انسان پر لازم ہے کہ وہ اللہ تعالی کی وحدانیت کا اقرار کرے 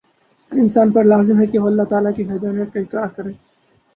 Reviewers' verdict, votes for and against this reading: accepted, 4, 2